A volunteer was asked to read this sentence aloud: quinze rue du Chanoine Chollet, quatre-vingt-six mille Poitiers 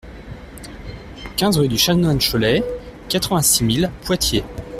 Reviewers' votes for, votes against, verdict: 2, 0, accepted